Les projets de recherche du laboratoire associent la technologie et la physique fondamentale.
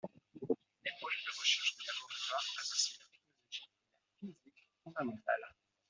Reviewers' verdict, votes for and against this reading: rejected, 0, 2